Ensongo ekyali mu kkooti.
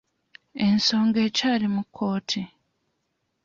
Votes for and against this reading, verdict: 2, 0, accepted